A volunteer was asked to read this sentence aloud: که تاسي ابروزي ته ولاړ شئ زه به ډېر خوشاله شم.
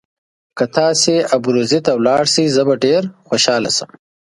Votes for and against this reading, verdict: 2, 0, accepted